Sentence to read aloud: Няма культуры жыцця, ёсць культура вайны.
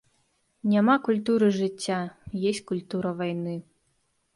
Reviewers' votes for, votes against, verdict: 0, 2, rejected